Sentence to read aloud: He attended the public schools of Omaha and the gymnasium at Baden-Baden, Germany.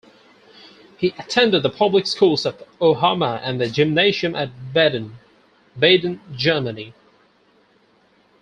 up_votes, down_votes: 2, 4